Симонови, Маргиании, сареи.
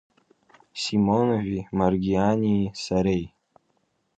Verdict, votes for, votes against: accepted, 2, 0